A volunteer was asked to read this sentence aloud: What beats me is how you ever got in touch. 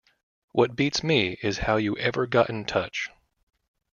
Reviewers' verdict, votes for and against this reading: accepted, 2, 0